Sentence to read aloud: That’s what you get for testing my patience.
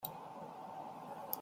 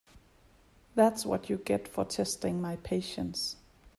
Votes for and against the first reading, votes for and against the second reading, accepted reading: 1, 2, 2, 0, second